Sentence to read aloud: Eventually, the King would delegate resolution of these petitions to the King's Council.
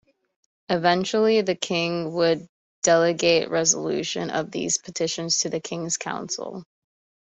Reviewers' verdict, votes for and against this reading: accepted, 2, 0